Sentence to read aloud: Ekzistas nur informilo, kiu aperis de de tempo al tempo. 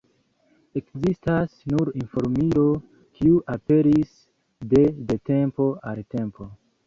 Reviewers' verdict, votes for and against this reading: accepted, 3, 1